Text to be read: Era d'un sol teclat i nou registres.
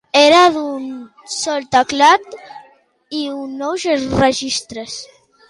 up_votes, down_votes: 0, 3